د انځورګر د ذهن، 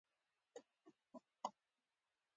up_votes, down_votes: 1, 2